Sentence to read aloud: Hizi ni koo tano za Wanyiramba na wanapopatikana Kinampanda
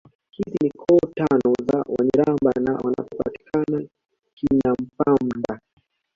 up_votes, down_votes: 1, 2